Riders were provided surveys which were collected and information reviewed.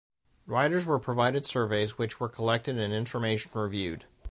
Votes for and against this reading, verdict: 2, 0, accepted